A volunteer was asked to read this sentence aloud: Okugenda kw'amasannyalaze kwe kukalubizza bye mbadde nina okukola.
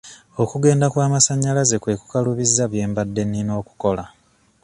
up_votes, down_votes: 2, 0